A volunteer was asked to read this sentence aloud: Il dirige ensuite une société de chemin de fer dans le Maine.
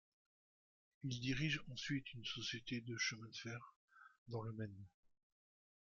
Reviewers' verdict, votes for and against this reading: rejected, 0, 2